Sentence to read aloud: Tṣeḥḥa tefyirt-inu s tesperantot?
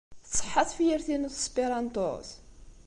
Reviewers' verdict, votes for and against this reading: accepted, 2, 0